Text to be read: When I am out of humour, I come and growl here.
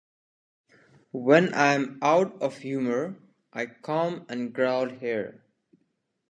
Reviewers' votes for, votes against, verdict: 2, 0, accepted